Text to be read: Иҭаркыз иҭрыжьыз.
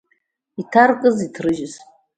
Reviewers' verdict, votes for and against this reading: accepted, 2, 0